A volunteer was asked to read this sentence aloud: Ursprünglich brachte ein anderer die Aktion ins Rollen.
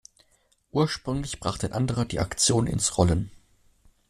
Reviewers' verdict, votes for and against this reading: rejected, 0, 2